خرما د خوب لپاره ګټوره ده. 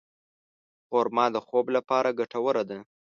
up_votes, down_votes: 2, 0